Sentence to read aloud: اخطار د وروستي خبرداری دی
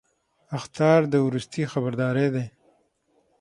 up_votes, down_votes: 6, 3